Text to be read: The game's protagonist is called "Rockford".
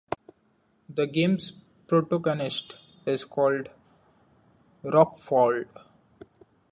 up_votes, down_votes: 1, 2